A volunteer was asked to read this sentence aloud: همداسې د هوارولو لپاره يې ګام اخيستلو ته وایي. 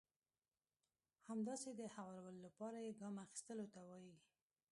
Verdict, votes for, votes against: rejected, 1, 2